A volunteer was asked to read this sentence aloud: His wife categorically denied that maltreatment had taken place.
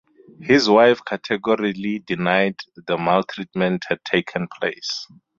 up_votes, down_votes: 4, 2